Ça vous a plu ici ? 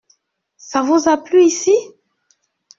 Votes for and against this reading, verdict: 2, 0, accepted